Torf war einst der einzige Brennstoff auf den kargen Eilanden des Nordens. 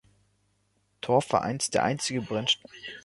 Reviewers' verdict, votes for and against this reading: rejected, 0, 2